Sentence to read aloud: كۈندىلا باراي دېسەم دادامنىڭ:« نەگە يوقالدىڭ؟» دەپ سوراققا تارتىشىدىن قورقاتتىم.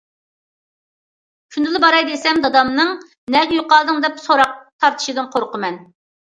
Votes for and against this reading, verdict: 0, 2, rejected